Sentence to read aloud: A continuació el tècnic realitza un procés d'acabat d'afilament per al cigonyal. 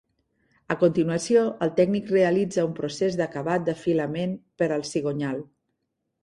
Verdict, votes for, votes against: accepted, 3, 0